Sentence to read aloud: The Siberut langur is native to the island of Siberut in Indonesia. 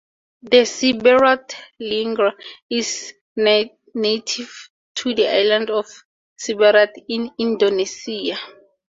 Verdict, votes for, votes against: rejected, 0, 4